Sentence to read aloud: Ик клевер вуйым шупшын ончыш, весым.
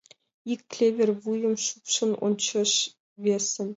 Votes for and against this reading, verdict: 2, 0, accepted